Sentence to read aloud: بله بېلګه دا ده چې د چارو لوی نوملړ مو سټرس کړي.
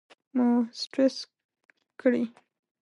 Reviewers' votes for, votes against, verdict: 0, 2, rejected